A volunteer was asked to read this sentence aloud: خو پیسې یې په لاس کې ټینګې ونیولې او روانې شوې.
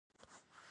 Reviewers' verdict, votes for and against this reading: rejected, 0, 2